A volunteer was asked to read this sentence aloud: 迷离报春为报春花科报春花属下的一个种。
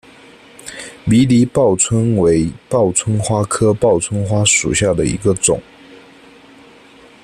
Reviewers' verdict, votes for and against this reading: accepted, 2, 0